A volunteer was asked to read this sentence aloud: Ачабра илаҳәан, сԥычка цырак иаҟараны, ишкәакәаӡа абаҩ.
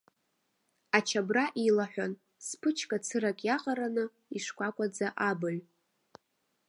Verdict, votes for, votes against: rejected, 0, 2